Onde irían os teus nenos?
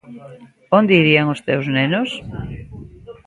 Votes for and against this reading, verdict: 2, 0, accepted